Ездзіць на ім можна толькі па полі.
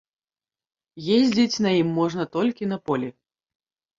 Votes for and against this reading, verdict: 0, 2, rejected